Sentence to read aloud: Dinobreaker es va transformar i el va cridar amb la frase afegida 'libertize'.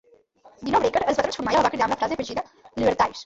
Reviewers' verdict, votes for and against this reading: rejected, 0, 4